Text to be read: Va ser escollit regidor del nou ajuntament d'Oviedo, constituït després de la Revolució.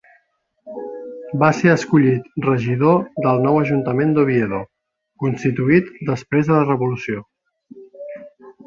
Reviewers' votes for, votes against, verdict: 1, 2, rejected